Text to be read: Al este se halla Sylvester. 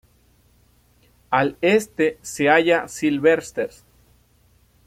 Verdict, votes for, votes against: rejected, 0, 2